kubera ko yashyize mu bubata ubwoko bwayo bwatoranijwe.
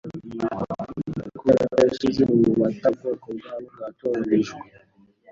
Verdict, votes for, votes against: rejected, 0, 2